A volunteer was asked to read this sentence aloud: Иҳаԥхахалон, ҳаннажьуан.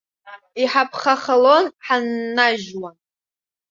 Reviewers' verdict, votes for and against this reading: rejected, 0, 2